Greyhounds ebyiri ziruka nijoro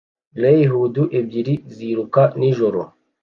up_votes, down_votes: 2, 0